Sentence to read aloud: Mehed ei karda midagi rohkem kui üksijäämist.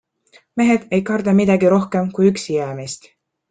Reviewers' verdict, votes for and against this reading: accepted, 2, 0